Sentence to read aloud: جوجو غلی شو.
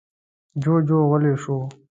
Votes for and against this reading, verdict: 2, 0, accepted